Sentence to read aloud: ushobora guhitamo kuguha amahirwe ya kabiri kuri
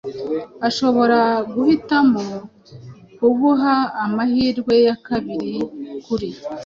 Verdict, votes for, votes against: accepted, 2, 0